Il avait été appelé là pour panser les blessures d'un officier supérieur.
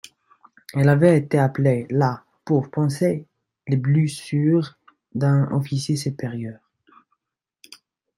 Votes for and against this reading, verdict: 2, 1, accepted